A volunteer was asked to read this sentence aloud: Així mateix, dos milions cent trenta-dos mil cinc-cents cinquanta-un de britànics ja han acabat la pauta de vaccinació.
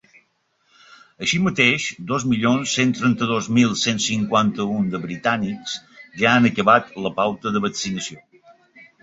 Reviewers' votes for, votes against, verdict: 0, 3, rejected